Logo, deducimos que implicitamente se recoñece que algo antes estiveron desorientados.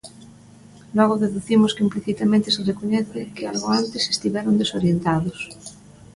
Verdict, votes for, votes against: accepted, 2, 0